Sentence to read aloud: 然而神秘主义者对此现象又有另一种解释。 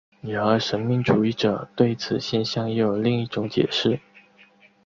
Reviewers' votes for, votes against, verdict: 2, 0, accepted